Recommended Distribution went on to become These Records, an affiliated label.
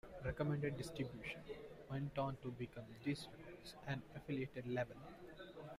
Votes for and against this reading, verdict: 0, 2, rejected